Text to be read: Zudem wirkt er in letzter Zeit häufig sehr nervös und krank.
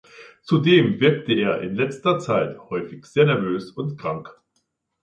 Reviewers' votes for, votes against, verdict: 1, 2, rejected